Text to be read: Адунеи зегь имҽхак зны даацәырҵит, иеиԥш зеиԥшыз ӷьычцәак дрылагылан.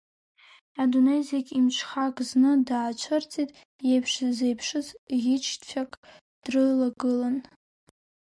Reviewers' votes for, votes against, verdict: 3, 0, accepted